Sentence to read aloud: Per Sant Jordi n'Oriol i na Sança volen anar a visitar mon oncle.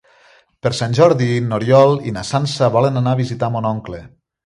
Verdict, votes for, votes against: accepted, 3, 0